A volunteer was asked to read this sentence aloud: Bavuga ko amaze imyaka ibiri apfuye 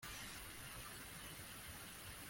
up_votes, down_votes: 0, 2